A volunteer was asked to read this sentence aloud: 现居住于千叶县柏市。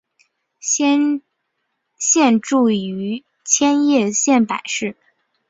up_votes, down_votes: 1, 2